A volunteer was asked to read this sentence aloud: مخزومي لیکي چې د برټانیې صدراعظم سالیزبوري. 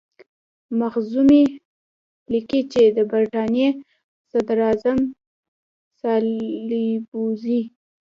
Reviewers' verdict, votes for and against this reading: accepted, 2, 1